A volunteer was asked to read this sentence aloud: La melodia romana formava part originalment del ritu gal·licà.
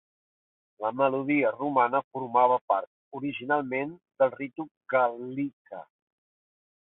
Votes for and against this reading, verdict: 1, 3, rejected